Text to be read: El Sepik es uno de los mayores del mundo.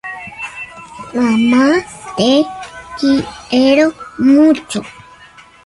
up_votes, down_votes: 0, 2